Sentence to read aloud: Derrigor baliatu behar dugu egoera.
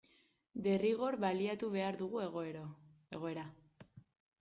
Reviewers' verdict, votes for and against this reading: rejected, 0, 2